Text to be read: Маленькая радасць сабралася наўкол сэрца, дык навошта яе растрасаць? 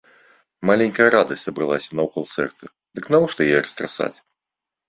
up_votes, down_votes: 3, 0